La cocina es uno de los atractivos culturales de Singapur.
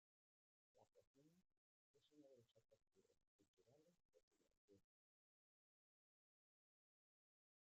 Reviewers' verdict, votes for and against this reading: rejected, 0, 2